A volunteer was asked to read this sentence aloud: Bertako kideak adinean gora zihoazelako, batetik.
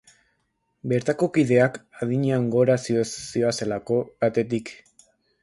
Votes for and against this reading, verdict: 0, 2, rejected